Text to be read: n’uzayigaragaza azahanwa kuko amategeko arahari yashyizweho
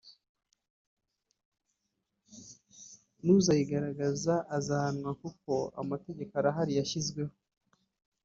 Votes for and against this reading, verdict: 2, 3, rejected